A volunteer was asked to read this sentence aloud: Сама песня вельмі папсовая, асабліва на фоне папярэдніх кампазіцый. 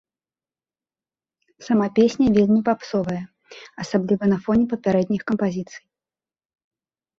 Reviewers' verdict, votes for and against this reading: accepted, 2, 0